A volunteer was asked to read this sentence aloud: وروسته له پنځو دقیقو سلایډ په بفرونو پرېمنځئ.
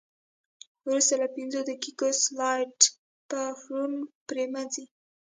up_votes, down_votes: 1, 2